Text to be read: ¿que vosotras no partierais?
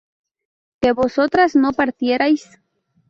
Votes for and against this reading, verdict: 0, 2, rejected